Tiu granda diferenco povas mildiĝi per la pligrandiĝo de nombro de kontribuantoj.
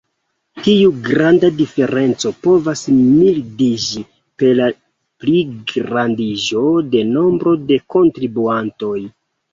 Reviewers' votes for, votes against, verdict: 0, 2, rejected